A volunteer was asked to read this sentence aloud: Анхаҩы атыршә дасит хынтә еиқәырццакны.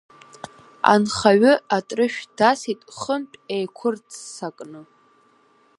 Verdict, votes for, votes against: accepted, 5, 1